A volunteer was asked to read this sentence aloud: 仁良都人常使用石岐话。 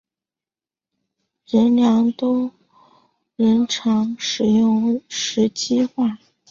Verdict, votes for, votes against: accepted, 2, 0